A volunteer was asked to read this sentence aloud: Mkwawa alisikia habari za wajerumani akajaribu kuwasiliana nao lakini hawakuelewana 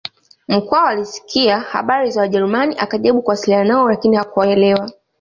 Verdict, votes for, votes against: accepted, 2, 0